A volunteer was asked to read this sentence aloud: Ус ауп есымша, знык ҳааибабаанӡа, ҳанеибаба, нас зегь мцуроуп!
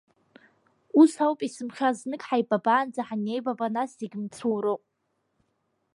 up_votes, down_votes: 2, 0